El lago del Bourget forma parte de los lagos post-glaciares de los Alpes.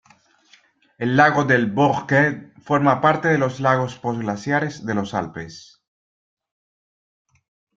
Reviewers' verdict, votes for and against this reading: rejected, 1, 2